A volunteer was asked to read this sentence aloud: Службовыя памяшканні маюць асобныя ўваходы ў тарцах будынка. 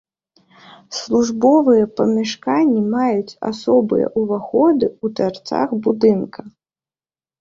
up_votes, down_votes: 1, 2